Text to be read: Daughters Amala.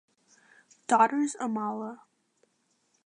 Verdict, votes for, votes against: accepted, 2, 0